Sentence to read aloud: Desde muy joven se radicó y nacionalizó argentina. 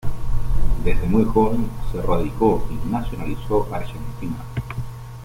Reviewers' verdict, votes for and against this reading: accepted, 3, 0